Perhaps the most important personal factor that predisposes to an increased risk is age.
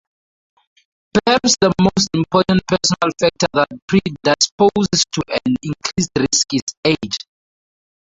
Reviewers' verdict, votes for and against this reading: rejected, 0, 2